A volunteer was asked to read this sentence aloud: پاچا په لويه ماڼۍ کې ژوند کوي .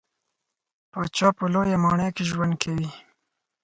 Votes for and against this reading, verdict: 4, 2, accepted